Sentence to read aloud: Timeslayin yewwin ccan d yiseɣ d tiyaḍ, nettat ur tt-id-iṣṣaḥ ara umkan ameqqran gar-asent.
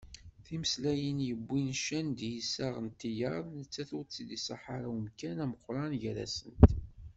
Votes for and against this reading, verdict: 2, 0, accepted